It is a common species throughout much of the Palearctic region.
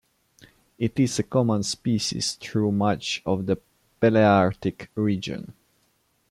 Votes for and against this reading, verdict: 1, 2, rejected